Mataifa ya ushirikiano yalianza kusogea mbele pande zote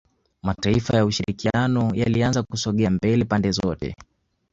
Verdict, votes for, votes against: accepted, 2, 0